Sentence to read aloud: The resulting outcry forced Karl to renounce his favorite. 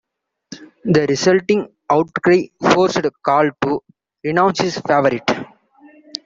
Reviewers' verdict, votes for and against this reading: accepted, 2, 1